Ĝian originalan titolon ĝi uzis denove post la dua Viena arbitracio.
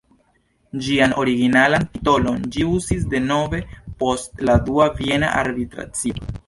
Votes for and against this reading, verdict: 2, 0, accepted